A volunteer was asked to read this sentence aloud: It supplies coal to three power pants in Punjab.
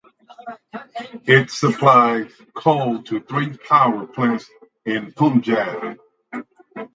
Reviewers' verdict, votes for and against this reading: accepted, 4, 0